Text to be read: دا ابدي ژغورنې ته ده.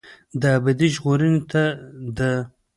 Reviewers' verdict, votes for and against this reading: rejected, 0, 2